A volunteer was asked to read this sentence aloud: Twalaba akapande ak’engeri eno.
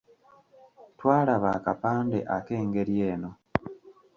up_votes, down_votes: 3, 0